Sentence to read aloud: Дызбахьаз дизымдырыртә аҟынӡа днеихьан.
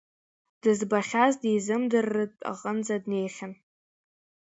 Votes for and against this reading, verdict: 2, 0, accepted